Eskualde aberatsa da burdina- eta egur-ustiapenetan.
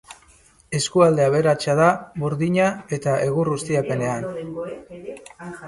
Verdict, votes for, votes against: rejected, 0, 2